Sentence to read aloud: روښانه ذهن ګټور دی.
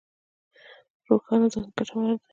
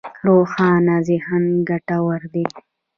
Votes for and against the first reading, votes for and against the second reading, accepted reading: 1, 2, 2, 1, second